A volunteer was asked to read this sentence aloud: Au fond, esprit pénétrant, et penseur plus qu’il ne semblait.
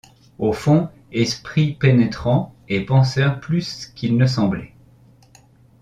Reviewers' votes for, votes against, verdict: 2, 0, accepted